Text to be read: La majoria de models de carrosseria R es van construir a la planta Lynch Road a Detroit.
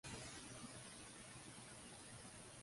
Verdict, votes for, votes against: rejected, 0, 2